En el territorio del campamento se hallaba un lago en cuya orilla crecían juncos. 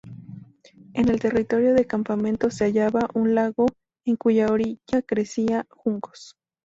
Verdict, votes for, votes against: accepted, 2, 0